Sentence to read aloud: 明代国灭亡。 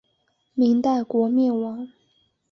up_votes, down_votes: 2, 0